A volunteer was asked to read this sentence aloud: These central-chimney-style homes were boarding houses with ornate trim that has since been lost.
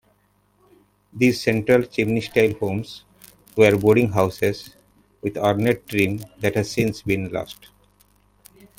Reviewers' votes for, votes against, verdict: 2, 0, accepted